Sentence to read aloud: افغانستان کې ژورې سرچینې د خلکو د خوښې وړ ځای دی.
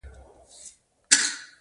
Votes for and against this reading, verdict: 2, 1, accepted